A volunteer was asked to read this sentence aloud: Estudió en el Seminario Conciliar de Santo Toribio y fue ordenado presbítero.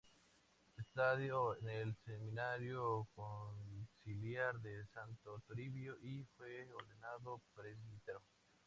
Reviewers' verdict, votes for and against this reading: rejected, 0, 2